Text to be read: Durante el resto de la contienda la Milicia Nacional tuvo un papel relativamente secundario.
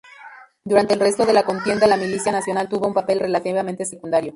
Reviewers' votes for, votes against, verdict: 0, 2, rejected